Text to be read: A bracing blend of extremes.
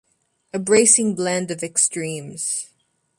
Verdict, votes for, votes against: accepted, 2, 0